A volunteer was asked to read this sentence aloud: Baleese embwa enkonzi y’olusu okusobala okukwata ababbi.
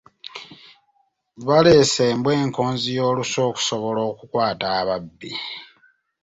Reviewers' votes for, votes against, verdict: 2, 0, accepted